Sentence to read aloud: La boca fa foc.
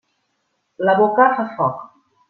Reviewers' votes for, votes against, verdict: 3, 0, accepted